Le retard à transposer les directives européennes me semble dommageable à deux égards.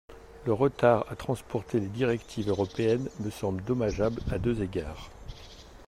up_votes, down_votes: 0, 2